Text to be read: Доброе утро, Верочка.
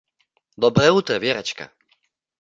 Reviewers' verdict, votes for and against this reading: accepted, 2, 0